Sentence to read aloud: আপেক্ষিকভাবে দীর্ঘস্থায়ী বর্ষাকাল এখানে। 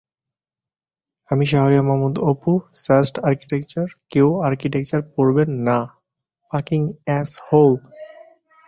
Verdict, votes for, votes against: rejected, 0, 5